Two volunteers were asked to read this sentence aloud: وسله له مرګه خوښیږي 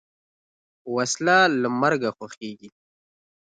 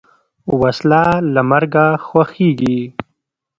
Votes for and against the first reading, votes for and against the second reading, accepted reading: 2, 0, 0, 2, first